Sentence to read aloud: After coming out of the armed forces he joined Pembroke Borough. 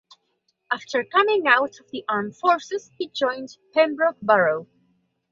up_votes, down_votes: 2, 1